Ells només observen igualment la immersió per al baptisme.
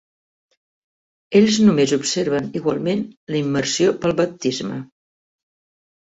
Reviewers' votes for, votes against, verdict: 0, 2, rejected